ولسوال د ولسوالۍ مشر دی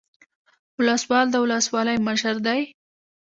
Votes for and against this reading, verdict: 2, 0, accepted